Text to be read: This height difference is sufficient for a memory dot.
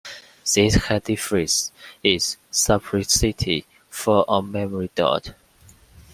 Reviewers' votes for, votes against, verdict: 1, 2, rejected